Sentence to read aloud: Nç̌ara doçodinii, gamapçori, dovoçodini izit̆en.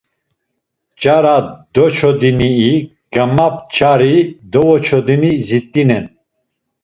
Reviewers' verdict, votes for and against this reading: rejected, 1, 2